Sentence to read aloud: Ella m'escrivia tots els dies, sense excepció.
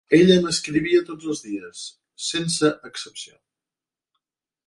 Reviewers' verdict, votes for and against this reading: accepted, 2, 0